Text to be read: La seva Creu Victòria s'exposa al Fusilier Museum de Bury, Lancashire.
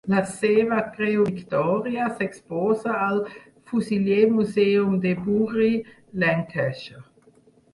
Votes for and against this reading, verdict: 2, 4, rejected